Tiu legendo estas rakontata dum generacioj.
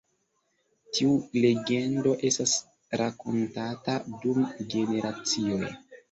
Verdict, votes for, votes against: accepted, 2, 0